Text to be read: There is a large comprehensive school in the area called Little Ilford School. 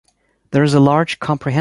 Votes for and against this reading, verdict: 1, 2, rejected